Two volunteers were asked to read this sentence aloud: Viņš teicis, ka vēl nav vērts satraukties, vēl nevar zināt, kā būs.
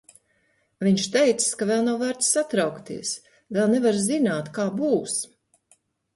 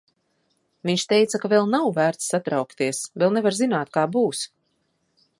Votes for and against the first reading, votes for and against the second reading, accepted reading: 2, 0, 0, 2, first